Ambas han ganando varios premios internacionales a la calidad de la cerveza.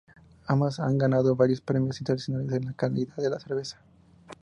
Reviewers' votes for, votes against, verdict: 0, 2, rejected